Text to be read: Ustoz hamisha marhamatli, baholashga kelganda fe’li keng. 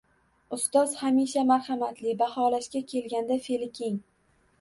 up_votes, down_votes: 2, 0